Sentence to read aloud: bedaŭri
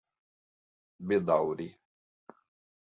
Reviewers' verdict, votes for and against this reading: accepted, 2, 0